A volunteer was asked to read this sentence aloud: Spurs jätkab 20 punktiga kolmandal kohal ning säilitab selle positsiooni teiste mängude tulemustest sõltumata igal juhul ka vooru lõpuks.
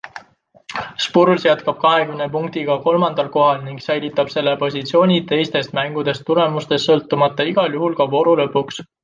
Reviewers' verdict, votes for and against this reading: rejected, 0, 2